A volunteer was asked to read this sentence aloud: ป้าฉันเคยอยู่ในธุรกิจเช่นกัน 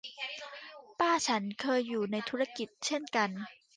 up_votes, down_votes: 1, 2